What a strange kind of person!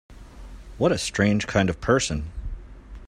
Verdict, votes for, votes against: accepted, 2, 0